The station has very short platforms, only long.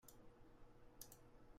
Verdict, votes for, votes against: rejected, 0, 2